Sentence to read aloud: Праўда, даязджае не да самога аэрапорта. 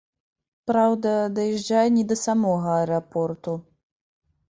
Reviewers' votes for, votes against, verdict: 1, 2, rejected